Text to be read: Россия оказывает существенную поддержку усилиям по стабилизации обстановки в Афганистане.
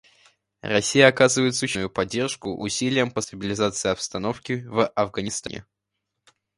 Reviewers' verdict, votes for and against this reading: rejected, 0, 2